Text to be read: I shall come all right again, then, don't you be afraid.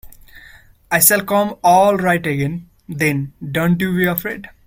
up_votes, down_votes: 0, 2